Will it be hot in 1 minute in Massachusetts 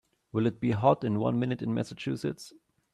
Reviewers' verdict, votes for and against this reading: rejected, 0, 2